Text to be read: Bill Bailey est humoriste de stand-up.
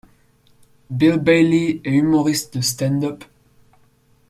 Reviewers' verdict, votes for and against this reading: accepted, 2, 0